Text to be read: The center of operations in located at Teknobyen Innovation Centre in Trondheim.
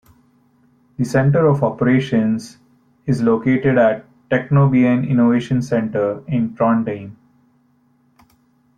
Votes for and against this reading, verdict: 0, 2, rejected